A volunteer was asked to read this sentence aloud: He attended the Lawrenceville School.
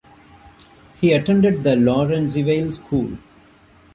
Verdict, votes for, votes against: rejected, 0, 2